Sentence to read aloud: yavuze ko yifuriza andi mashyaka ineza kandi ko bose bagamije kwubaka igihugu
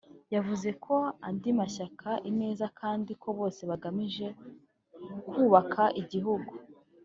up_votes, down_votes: 0, 3